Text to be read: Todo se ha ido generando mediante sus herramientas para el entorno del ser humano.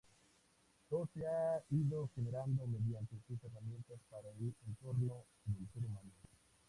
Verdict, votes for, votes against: accepted, 2, 0